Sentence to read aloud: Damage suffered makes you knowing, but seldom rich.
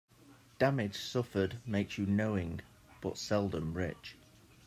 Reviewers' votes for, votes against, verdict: 2, 0, accepted